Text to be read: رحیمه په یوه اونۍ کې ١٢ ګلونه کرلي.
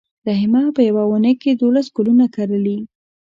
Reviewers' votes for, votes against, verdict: 0, 2, rejected